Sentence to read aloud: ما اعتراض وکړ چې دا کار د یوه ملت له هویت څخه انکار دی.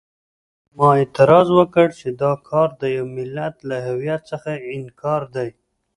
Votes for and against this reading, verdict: 2, 0, accepted